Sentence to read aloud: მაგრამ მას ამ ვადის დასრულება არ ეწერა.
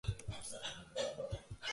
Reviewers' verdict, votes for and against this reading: rejected, 0, 3